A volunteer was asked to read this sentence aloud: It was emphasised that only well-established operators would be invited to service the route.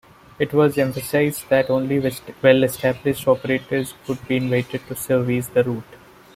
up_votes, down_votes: 2, 1